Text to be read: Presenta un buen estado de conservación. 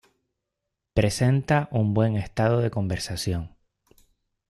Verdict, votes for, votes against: rejected, 0, 2